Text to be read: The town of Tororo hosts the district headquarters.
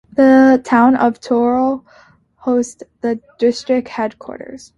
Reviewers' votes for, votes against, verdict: 2, 1, accepted